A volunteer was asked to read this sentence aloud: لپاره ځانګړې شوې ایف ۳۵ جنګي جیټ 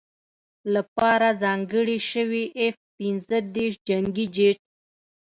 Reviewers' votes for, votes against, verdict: 0, 2, rejected